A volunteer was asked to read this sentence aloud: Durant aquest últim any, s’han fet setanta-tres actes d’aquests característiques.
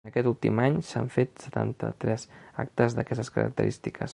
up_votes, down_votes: 1, 2